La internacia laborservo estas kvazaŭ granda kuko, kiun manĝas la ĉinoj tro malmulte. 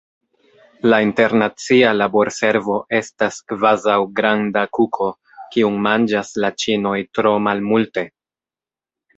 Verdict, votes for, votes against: rejected, 1, 2